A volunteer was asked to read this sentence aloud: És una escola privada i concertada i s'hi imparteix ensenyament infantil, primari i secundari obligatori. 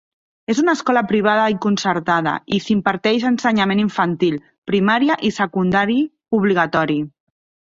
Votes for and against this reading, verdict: 0, 4, rejected